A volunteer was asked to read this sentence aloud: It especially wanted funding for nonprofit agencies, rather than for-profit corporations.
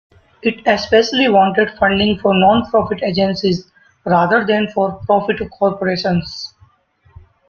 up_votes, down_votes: 3, 0